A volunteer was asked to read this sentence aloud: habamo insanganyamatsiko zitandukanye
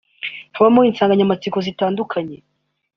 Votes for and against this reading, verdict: 2, 0, accepted